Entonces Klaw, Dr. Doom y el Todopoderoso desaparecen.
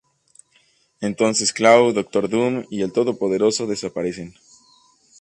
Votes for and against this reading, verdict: 2, 2, rejected